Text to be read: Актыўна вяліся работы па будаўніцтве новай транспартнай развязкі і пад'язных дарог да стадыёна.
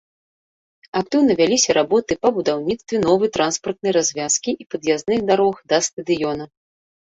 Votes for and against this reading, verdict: 2, 0, accepted